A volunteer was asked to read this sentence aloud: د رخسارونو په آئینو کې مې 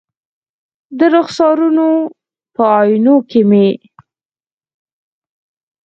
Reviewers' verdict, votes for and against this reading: rejected, 2, 4